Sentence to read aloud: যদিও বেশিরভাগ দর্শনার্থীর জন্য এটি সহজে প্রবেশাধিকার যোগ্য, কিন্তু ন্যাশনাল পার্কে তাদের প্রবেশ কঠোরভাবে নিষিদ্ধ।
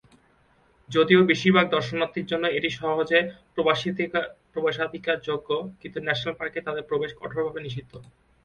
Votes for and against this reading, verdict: 0, 2, rejected